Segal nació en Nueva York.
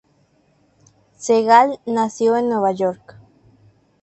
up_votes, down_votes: 2, 0